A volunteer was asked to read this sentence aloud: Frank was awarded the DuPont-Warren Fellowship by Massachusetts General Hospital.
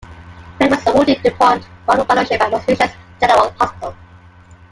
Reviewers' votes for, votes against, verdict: 0, 2, rejected